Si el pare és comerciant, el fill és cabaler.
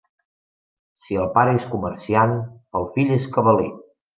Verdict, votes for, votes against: accepted, 2, 0